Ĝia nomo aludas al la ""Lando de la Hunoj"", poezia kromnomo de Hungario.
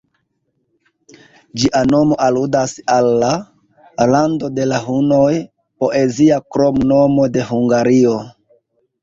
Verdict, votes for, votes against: accepted, 2, 0